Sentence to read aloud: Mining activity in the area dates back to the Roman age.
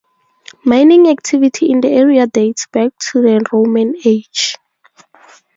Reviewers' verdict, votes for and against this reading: accepted, 2, 0